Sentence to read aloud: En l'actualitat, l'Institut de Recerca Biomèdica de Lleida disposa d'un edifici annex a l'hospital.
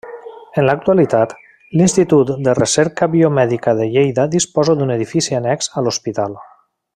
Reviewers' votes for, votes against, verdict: 3, 0, accepted